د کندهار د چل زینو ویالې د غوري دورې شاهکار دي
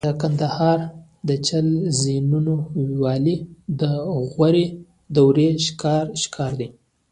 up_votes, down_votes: 0, 2